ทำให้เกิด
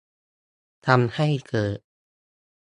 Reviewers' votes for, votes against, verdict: 2, 0, accepted